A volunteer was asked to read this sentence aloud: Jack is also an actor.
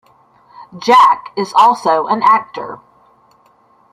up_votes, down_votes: 2, 0